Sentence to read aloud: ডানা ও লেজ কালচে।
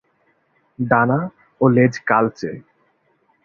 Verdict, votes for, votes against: accepted, 2, 0